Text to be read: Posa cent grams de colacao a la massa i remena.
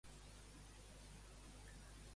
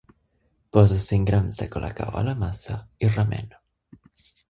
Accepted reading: second